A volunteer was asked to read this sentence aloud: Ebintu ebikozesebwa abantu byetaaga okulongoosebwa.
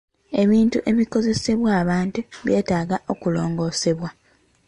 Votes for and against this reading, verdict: 1, 2, rejected